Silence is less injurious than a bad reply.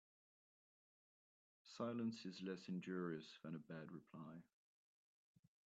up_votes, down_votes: 2, 0